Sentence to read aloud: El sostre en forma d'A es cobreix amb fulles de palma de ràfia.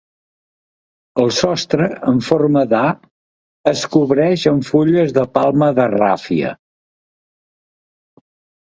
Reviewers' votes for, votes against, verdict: 2, 0, accepted